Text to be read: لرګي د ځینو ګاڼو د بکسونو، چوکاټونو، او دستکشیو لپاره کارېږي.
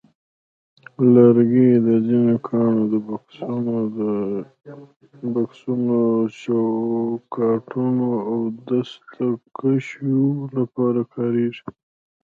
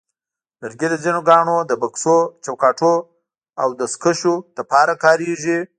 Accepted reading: second